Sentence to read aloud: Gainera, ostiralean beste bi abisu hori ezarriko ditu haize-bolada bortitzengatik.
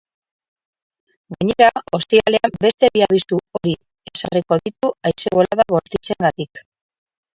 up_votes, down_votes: 0, 2